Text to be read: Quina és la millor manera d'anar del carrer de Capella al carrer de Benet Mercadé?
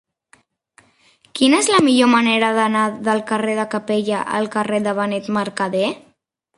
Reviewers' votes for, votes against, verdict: 0, 2, rejected